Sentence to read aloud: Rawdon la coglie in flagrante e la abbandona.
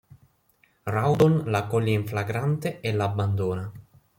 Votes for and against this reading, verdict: 2, 0, accepted